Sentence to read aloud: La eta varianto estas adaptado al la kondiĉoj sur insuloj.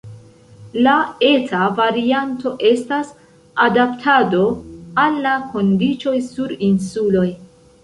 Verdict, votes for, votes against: rejected, 1, 2